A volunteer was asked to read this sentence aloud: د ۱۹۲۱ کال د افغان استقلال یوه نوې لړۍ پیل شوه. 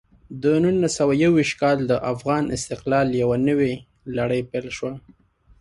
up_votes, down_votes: 0, 2